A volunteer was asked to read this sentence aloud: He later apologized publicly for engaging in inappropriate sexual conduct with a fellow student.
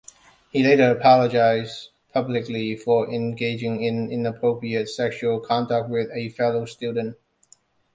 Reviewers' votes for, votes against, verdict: 2, 0, accepted